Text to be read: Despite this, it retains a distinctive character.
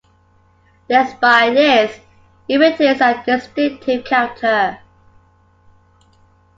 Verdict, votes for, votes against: accepted, 2, 0